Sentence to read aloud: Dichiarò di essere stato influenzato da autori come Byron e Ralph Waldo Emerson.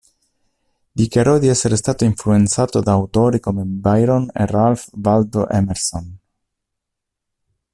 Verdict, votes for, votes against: accepted, 2, 0